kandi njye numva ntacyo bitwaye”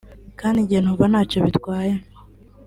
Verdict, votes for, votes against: accepted, 2, 0